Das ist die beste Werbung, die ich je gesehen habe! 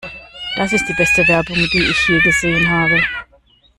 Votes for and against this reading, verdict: 1, 2, rejected